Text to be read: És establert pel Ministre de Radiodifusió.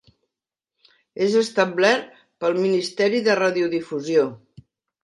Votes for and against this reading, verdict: 0, 2, rejected